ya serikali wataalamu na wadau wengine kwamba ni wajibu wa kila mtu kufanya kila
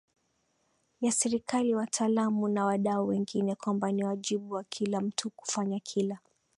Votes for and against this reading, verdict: 7, 6, accepted